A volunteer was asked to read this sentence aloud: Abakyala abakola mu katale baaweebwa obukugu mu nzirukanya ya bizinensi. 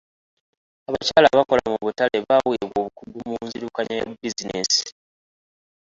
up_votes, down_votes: 1, 2